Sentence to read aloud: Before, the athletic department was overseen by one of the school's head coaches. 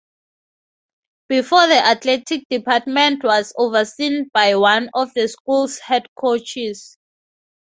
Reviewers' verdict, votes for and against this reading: rejected, 2, 2